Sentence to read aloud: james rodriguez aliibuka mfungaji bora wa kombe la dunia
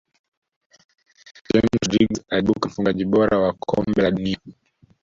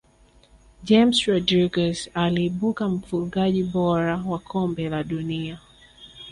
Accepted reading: second